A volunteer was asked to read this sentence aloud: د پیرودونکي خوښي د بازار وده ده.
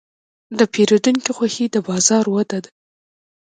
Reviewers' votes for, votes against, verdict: 0, 2, rejected